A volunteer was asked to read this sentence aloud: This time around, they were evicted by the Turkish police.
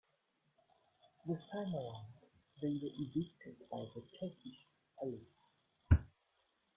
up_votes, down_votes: 0, 2